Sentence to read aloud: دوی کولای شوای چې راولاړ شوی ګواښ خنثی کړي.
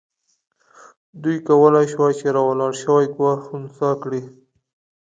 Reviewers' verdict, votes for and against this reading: accepted, 2, 0